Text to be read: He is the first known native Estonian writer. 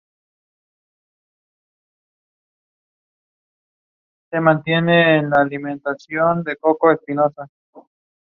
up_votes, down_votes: 0, 2